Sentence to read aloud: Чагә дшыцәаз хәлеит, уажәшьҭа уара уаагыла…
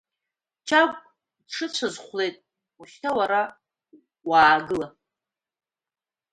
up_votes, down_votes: 2, 0